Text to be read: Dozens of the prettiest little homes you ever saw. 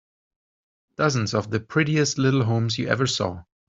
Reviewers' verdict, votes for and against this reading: accepted, 4, 0